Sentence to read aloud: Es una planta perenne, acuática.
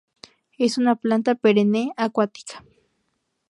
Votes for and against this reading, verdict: 2, 0, accepted